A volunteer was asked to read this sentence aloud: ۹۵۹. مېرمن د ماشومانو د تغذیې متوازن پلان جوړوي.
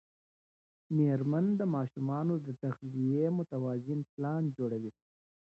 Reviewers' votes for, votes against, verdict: 0, 2, rejected